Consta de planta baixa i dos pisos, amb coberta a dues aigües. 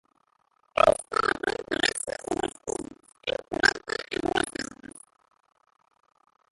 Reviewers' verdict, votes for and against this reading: rejected, 0, 3